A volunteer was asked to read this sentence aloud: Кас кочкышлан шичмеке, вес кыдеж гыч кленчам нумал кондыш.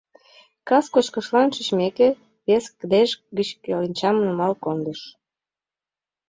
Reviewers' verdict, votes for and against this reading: rejected, 2, 3